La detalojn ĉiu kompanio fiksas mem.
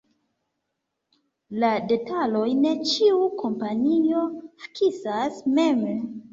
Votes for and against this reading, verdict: 0, 2, rejected